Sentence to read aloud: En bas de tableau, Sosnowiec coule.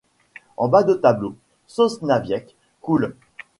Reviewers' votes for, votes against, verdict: 1, 2, rejected